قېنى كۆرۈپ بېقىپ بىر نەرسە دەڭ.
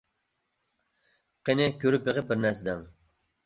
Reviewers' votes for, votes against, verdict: 1, 2, rejected